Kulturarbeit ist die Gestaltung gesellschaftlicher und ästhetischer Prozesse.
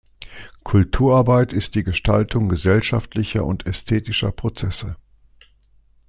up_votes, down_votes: 2, 0